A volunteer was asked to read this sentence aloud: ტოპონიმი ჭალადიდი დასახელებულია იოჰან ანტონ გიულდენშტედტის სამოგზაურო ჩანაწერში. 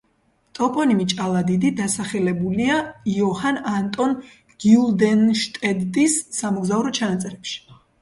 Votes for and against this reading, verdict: 0, 2, rejected